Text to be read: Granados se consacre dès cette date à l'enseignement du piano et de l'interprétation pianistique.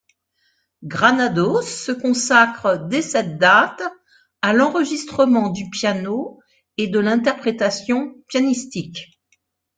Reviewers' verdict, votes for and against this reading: rejected, 1, 2